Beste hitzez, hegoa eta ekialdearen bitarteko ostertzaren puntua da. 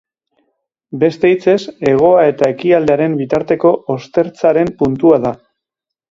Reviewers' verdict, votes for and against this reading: accepted, 3, 0